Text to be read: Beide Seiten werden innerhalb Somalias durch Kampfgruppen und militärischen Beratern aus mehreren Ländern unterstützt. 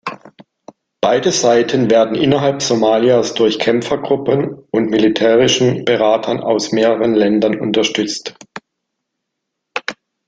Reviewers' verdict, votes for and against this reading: rejected, 0, 2